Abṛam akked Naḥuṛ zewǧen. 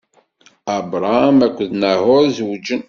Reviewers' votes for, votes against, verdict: 2, 0, accepted